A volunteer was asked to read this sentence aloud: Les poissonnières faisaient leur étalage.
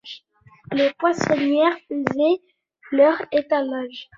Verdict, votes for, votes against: rejected, 1, 2